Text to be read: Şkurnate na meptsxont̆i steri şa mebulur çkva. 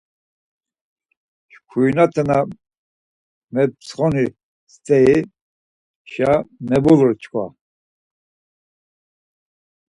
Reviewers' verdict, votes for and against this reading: rejected, 2, 4